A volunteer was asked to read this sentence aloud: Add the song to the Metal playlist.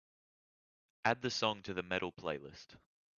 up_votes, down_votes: 2, 0